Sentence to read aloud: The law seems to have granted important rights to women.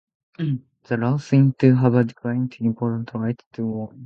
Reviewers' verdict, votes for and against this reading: rejected, 0, 2